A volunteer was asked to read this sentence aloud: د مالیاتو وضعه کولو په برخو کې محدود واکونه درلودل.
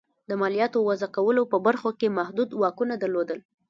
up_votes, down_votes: 1, 2